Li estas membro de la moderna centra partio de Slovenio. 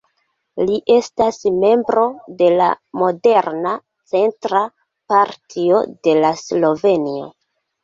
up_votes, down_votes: 0, 2